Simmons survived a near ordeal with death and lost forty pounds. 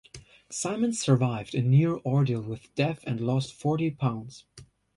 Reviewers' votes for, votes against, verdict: 1, 2, rejected